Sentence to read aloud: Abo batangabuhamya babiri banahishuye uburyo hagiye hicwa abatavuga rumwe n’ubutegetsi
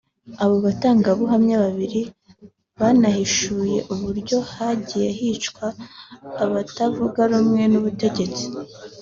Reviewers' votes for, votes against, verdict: 4, 0, accepted